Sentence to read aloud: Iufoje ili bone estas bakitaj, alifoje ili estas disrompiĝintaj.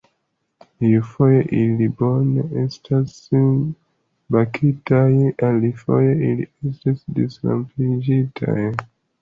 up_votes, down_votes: 2, 0